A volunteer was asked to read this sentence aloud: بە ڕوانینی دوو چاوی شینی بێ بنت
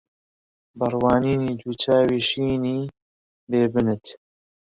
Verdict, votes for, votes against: accepted, 2, 0